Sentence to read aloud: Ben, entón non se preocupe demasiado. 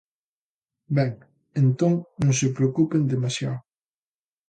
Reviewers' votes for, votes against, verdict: 0, 2, rejected